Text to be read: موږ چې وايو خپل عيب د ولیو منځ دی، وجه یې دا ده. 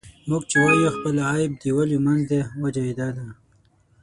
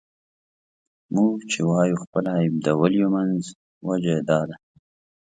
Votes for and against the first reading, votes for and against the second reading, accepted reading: 3, 6, 2, 0, second